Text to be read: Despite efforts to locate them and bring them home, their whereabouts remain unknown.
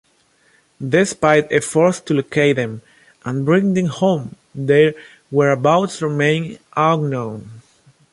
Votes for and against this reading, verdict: 2, 0, accepted